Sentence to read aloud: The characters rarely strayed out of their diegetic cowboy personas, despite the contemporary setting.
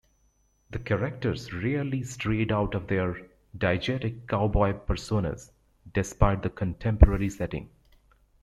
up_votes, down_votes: 2, 0